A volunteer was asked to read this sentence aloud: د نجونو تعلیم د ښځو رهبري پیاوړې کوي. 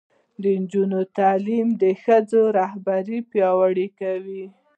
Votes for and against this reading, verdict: 1, 2, rejected